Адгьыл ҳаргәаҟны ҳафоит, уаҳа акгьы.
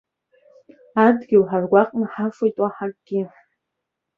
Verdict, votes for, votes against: accepted, 3, 0